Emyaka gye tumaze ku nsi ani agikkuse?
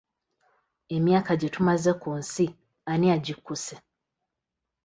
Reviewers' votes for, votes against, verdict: 2, 0, accepted